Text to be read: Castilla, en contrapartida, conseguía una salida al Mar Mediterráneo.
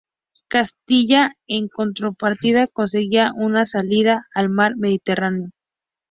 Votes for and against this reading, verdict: 2, 2, rejected